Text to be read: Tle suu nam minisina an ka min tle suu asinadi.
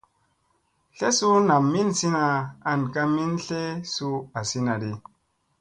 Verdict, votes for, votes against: accepted, 2, 0